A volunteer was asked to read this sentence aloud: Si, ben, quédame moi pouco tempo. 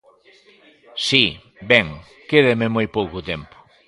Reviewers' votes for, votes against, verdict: 2, 1, accepted